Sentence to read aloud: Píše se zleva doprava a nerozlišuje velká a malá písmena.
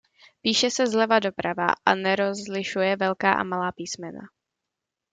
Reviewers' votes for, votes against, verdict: 2, 0, accepted